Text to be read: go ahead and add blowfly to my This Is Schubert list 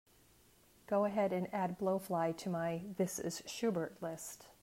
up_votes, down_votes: 2, 0